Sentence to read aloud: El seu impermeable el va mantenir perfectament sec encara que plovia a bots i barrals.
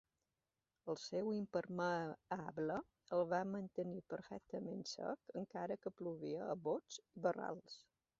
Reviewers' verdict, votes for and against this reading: rejected, 0, 2